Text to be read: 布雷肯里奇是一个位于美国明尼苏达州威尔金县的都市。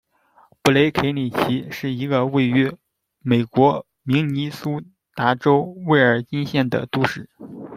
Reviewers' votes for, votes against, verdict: 1, 2, rejected